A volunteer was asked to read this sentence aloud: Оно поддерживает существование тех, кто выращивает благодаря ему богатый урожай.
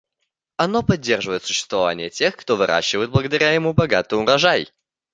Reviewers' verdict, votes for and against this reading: accepted, 2, 0